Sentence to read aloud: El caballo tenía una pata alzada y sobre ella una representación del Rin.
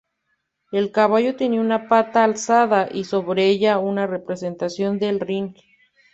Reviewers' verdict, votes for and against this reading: accepted, 2, 1